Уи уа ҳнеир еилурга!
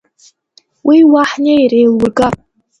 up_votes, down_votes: 2, 0